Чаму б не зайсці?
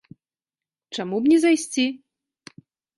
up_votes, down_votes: 2, 0